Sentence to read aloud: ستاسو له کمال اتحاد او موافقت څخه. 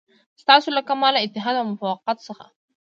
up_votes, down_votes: 1, 2